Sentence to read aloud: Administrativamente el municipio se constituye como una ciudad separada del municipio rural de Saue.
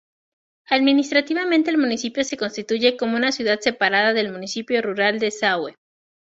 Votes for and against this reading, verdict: 2, 0, accepted